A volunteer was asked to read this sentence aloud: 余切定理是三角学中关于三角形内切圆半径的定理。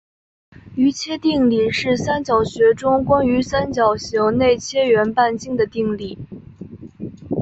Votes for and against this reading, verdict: 2, 1, accepted